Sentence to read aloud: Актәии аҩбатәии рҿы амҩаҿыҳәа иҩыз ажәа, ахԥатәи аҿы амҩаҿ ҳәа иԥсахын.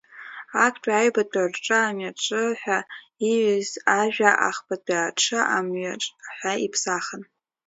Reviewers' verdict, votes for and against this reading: rejected, 0, 2